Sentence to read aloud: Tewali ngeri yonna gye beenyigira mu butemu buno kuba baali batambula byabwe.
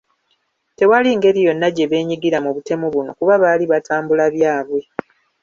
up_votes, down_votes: 0, 2